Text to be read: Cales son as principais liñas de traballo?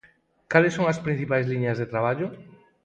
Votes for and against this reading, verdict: 4, 0, accepted